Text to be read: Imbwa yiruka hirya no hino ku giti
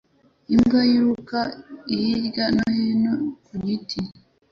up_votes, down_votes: 2, 0